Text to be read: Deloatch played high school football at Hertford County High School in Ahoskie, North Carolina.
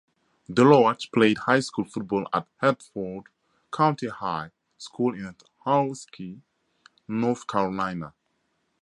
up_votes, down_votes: 4, 0